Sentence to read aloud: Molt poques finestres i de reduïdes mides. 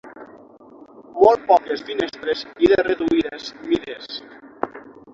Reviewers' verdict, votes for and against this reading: accepted, 6, 0